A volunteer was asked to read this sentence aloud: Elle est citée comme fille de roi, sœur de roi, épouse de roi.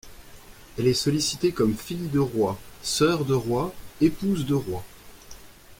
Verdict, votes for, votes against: rejected, 0, 2